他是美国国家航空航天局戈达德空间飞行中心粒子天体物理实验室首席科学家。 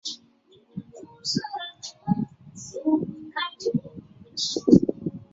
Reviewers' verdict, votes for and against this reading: rejected, 0, 2